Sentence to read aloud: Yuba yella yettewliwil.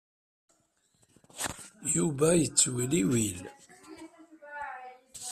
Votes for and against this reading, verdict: 2, 0, accepted